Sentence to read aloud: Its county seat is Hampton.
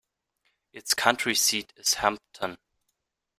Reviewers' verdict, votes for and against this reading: rejected, 0, 2